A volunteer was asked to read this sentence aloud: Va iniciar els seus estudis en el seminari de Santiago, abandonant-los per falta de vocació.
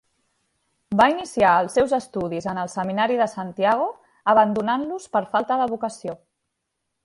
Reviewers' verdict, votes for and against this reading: rejected, 1, 2